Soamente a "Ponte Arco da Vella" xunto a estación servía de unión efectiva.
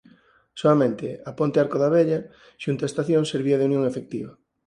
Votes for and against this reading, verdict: 4, 0, accepted